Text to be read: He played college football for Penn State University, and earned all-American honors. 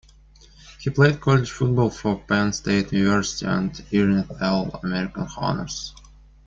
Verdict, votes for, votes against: rejected, 1, 2